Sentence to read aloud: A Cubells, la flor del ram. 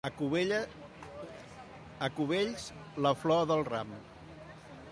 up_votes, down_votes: 0, 2